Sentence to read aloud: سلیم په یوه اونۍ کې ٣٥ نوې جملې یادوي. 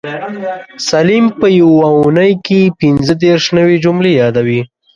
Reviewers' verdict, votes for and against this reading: rejected, 0, 2